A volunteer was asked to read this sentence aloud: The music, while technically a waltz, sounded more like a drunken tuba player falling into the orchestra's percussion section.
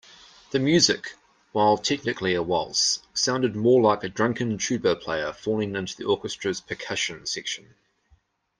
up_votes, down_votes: 2, 0